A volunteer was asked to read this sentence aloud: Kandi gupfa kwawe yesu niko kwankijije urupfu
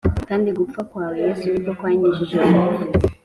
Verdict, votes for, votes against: accepted, 2, 0